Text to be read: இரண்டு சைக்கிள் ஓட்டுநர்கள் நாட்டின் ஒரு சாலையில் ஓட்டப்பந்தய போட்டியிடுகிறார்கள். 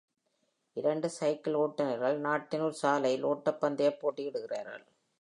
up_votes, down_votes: 1, 2